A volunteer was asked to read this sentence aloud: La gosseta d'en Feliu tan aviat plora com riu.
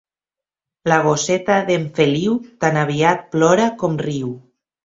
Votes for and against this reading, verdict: 2, 0, accepted